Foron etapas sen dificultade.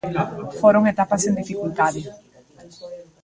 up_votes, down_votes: 0, 2